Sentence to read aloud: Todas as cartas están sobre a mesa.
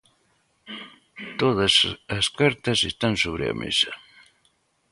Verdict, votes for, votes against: accepted, 2, 0